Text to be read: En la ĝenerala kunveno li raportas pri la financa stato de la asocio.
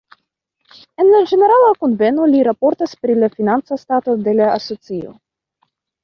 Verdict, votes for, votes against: accepted, 2, 1